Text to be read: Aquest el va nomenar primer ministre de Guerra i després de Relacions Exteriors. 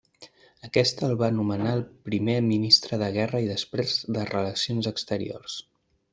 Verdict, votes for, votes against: rejected, 1, 2